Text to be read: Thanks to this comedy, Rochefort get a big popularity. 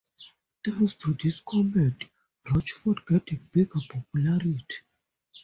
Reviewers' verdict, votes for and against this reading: rejected, 0, 2